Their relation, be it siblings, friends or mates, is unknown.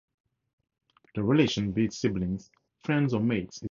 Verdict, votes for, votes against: rejected, 0, 2